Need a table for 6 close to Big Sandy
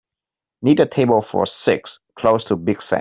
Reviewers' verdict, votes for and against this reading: rejected, 0, 2